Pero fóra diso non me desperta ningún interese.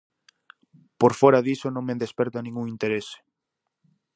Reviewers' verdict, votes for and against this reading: rejected, 0, 4